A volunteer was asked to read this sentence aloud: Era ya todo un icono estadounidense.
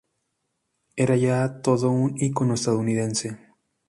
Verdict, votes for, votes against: accepted, 2, 0